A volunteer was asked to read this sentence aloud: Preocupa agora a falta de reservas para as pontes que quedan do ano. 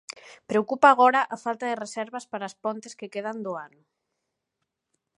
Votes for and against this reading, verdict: 2, 0, accepted